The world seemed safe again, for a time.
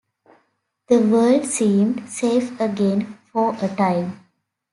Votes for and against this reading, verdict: 2, 0, accepted